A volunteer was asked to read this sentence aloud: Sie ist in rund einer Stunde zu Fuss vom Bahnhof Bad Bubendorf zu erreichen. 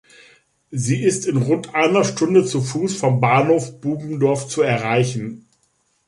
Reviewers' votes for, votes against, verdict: 0, 3, rejected